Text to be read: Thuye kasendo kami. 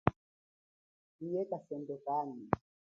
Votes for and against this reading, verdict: 1, 2, rejected